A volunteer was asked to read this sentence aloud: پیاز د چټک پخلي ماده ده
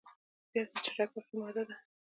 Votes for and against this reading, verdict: 0, 2, rejected